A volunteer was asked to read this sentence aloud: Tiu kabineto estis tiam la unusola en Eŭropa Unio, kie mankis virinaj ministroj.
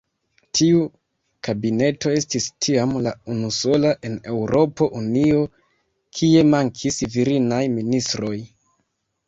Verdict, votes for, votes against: rejected, 2, 3